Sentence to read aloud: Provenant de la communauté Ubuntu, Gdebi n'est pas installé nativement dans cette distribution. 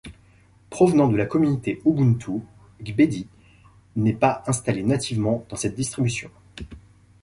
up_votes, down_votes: 0, 2